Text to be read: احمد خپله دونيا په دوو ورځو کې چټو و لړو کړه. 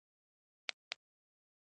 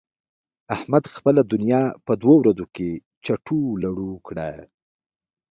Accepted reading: second